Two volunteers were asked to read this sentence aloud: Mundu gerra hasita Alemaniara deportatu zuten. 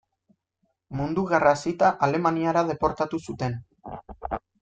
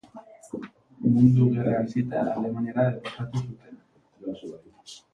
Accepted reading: first